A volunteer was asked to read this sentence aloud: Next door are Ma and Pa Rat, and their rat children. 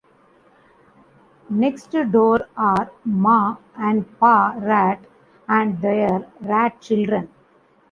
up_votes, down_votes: 1, 2